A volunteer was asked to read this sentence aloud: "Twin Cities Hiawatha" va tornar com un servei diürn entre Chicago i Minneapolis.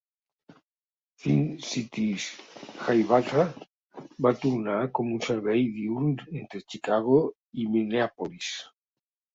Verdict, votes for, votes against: rejected, 0, 2